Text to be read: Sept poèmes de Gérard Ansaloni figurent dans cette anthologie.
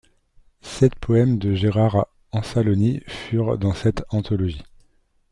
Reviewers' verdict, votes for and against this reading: rejected, 0, 2